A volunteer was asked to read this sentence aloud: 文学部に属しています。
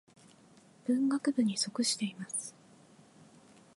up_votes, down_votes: 2, 0